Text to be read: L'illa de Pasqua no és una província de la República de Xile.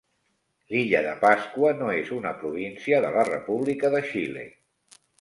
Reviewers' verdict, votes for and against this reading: accepted, 2, 0